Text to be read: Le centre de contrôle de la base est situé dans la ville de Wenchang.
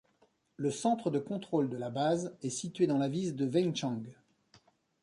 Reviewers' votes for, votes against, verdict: 1, 2, rejected